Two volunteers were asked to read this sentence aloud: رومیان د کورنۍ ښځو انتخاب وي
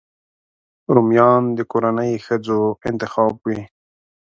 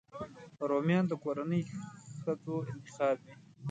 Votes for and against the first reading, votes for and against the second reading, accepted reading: 3, 0, 0, 2, first